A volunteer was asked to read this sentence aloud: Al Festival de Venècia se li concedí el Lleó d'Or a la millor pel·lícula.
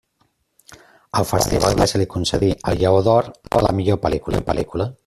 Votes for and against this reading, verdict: 0, 2, rejected